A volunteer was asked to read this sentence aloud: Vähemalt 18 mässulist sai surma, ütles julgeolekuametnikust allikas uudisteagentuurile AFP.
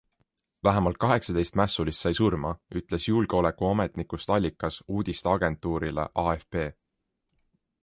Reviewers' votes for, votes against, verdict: 0, 2, rejected